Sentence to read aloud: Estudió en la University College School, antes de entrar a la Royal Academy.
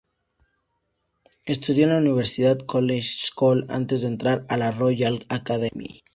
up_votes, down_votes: 0, 2